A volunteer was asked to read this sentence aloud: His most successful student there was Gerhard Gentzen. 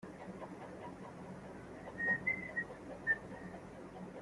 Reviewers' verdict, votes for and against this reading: rejected, 0, 2